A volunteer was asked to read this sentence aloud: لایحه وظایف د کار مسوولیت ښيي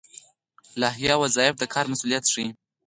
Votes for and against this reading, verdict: 4, 0, accepted